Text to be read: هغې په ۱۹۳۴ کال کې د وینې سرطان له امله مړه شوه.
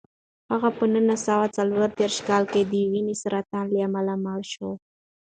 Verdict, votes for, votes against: rejected, 0, 2